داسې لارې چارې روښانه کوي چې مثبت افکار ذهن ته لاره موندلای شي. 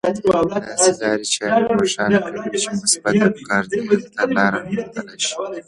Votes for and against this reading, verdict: 0, 2, rejected